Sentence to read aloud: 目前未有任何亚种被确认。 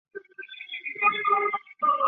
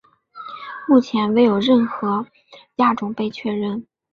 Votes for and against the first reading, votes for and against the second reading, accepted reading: 1, 2, 5, 0, second